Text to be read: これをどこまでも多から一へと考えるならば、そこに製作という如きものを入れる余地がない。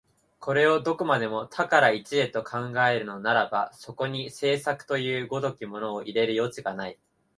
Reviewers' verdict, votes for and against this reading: accepted, 2, 0